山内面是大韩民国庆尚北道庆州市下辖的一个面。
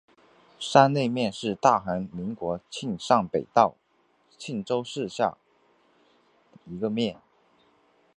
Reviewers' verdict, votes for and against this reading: accepted, 3, 0